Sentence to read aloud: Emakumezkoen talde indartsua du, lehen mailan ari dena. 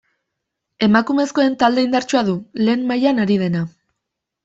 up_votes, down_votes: 2, 0